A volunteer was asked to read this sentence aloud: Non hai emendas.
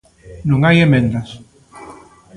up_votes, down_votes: 0, 2